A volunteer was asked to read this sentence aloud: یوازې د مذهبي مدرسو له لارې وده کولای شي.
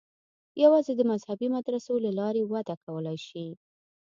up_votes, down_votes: 2, 0